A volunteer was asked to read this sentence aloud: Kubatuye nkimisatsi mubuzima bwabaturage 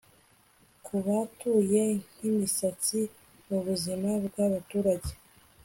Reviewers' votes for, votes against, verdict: 2, 0, accepted